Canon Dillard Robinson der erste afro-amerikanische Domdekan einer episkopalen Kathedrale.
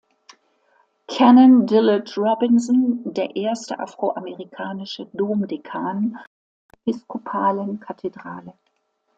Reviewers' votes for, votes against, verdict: 0, 2, rejected